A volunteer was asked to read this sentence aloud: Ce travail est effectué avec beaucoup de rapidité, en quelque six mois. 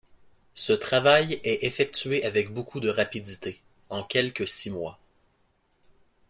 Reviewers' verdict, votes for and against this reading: accepted, 2, 0